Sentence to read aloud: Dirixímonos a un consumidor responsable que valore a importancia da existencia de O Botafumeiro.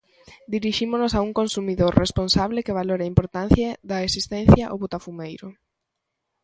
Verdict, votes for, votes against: rejected, 0, 2